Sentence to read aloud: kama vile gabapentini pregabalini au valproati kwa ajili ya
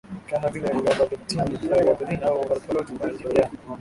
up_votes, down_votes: 1, 3